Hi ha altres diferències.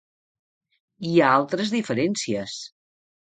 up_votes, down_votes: 3, 0